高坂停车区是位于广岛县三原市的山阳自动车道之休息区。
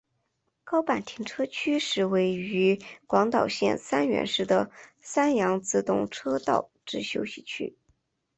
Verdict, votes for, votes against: accepted, 4, 0